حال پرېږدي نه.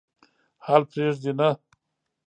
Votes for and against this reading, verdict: 1, 2, rejected